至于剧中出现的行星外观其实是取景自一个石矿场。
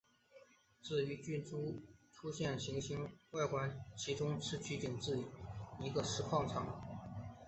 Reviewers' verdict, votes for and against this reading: accepted, 3, 1